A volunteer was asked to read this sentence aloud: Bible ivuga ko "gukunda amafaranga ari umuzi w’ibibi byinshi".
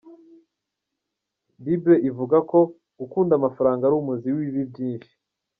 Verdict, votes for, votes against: accepted, 2, 0